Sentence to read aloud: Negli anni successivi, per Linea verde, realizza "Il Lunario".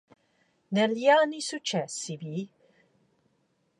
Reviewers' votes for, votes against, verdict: 0, 2, rejected